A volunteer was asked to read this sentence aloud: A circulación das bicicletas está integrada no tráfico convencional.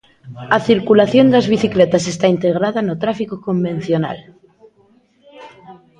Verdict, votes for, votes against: accepted, 2, 0